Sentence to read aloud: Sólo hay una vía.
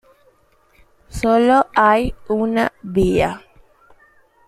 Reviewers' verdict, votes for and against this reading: accepted, 2, 0